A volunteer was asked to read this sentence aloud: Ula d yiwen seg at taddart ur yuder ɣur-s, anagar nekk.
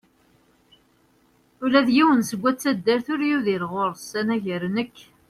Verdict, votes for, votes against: rejected, 1, 2